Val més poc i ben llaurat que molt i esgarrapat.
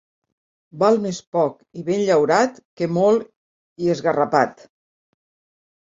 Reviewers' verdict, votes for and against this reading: accepted, 2, 0